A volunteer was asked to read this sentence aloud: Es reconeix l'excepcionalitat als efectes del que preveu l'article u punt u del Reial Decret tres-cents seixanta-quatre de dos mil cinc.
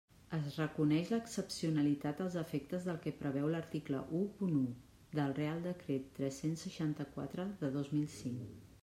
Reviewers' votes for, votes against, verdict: 2, 0, accepted